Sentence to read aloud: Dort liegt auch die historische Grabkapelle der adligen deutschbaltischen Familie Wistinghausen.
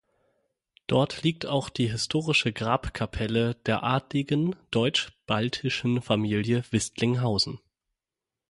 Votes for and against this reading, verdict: 0, 6, rejected